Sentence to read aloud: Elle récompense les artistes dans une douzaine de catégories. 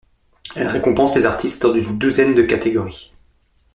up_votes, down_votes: 0, 2